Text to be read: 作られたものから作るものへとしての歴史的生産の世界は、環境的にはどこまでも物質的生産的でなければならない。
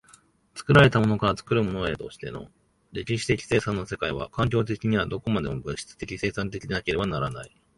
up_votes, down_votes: 2, 0